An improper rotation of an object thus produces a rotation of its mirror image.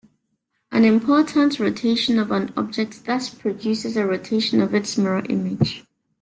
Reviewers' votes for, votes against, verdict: 0, 2, rejected